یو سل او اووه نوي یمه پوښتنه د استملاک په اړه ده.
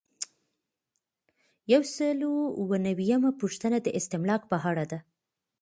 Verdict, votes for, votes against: rejected, 0, 2